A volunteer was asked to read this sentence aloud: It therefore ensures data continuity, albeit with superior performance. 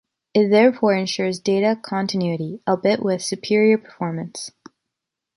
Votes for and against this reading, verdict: 2, 0, accepted